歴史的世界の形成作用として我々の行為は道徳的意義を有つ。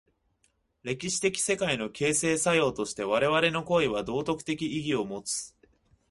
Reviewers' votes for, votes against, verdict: 2, 0, accepted